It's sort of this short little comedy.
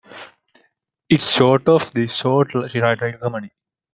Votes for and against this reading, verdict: 0, 2, rejected